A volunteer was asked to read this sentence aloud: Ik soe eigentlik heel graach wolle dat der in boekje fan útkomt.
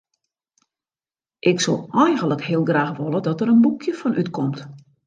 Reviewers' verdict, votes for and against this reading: accepted, 2, 0